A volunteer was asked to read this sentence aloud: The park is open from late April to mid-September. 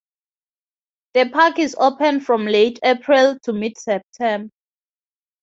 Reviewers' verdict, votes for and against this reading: rejected, 0, 2